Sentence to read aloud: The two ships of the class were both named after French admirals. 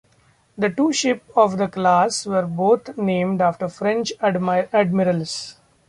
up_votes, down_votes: 0, 2